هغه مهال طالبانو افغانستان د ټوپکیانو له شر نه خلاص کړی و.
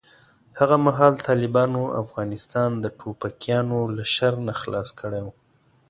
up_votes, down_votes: 2, 0